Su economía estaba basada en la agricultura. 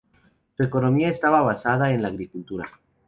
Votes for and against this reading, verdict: 2, 0, accepted